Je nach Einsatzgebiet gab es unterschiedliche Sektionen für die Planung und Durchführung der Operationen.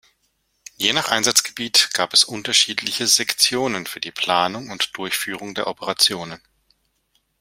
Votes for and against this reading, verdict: 2, 0, accepted